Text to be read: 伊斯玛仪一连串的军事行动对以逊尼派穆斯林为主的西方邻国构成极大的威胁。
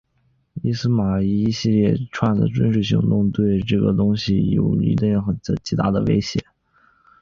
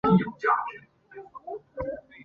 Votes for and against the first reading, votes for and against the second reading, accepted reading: 5, 3, 1, 3, first